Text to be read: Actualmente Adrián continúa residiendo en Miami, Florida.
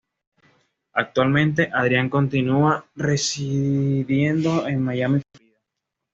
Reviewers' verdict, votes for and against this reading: rejected, 1, 2